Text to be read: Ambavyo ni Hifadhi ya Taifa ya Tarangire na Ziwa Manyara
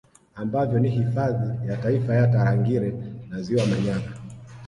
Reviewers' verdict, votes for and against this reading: accepted, 2, 0